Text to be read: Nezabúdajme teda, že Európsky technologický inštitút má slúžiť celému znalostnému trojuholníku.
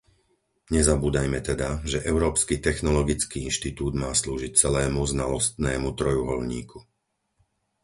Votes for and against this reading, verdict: 4, 0, accepted